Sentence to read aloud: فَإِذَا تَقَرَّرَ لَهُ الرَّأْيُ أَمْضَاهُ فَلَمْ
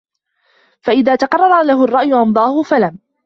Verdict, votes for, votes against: accepted, 2, 1